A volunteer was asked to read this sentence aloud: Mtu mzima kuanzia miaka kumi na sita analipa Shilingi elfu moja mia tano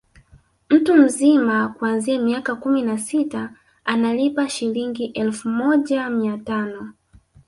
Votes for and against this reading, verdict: 2, 0, accepted